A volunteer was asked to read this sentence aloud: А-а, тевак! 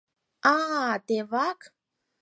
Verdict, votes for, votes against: accepted, 4, 0